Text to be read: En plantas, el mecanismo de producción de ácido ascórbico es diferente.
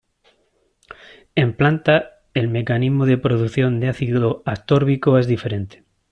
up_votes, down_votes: 0, 2